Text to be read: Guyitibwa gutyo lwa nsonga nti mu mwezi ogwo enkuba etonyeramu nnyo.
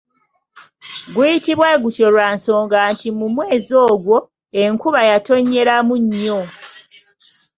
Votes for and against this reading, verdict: 0, 2, rejected